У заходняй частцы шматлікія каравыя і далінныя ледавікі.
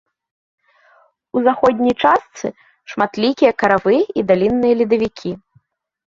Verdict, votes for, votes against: accepted, 2, 0